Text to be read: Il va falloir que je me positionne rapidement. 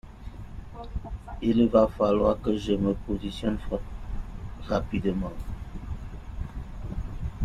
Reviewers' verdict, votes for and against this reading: rejected, 0, 2